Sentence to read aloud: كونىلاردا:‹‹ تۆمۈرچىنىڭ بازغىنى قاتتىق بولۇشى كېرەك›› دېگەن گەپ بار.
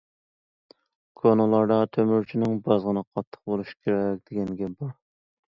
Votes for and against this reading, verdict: 2, 0, accepted